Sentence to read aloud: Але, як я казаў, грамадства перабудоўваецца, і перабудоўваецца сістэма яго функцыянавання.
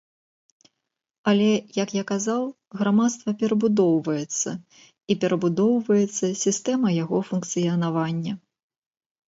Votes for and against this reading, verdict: 2, 0, accepted